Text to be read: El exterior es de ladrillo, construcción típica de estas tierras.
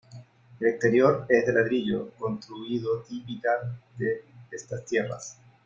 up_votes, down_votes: 0, 2